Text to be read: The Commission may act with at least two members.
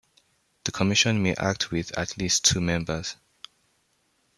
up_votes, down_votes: 2, 0